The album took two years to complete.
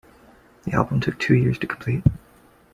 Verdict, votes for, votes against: accepted, 2, 0